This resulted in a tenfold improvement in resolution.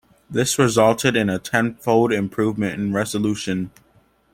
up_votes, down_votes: 2, 0